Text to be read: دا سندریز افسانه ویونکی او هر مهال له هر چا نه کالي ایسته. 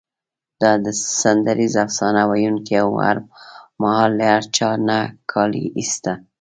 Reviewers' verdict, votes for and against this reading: accepted, 2, 1